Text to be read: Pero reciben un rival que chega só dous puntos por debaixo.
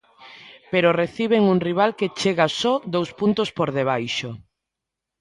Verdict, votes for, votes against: accepted, 2, 0